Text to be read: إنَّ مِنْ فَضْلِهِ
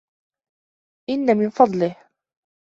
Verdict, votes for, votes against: accepted, 2, 0